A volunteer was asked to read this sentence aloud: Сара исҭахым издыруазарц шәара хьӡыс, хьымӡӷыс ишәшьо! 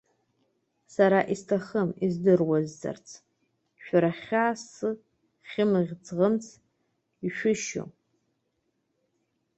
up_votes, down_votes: 0, 2